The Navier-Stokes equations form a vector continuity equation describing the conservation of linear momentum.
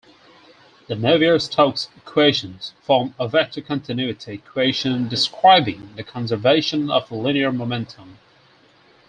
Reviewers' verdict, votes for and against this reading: accepted, 4, 0